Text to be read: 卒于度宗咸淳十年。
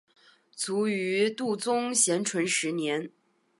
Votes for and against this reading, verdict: 2, 0, accepted